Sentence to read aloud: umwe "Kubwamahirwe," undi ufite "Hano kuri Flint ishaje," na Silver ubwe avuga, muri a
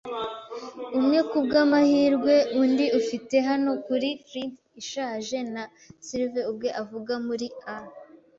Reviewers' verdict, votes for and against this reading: accepted, 2, 0